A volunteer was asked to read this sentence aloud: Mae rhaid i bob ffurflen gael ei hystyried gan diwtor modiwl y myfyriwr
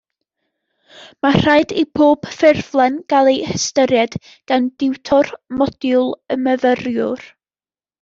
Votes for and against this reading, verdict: 2, 0, accepted